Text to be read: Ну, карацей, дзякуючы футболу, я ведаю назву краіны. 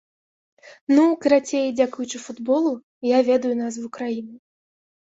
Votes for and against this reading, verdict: 2, 0, accepted